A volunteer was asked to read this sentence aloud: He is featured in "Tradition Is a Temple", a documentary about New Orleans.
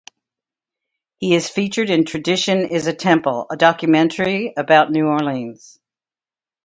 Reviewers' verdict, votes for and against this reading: accepted, 2, 0